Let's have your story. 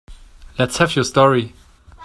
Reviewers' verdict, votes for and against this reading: accepted, 2, 0